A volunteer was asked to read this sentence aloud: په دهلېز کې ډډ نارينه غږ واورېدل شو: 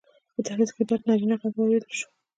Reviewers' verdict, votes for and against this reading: accepted, 2, 0